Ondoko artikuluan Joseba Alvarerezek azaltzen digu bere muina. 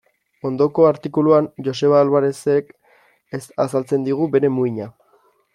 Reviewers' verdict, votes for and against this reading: rejected, 1, 3